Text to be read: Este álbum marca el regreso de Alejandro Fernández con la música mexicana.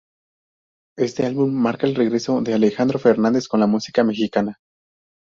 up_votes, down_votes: 2, 0